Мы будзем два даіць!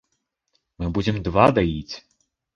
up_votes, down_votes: 2, 0